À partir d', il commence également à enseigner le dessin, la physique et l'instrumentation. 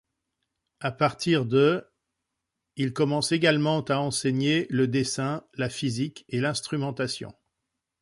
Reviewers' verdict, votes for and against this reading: accepted, 2, 0